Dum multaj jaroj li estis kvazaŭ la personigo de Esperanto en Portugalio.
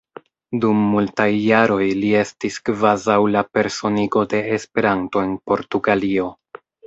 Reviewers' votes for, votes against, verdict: 2, 0, accepted